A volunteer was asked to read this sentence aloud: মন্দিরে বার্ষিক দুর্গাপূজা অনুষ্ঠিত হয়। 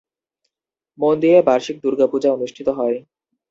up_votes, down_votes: 0, 2